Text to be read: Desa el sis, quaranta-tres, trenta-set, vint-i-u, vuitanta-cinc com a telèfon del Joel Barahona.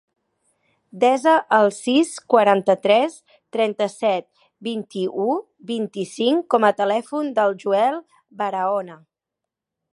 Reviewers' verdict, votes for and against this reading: rejected, 1, 2